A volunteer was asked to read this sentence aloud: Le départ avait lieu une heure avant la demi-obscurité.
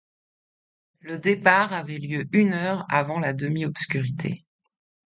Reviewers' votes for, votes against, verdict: 2, 0, accepted